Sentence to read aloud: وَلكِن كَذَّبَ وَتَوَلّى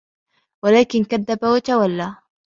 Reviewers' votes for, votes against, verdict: 2, 0, accepted